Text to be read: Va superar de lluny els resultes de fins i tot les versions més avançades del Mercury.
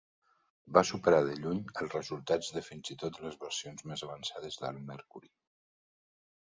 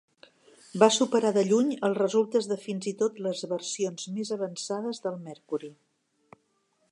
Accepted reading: second